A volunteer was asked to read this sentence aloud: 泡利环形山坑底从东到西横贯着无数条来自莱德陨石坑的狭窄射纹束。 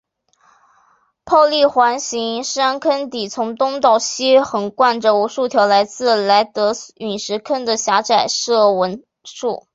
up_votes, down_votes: 2, 1